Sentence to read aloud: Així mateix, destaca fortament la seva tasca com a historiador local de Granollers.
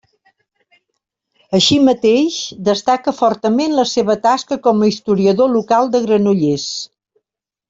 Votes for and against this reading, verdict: 3, 0, accepted